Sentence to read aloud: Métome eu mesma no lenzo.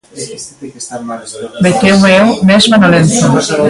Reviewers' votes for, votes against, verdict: 0, 2, rejected